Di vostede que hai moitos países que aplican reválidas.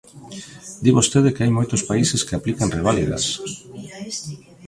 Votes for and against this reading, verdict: 0, 2, rejected